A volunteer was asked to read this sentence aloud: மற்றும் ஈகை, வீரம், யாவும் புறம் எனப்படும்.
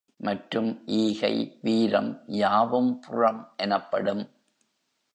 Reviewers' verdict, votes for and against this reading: accepted, 2, 0